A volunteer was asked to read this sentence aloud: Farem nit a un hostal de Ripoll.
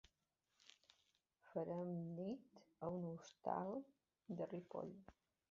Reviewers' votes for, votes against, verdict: 0, 2, rejected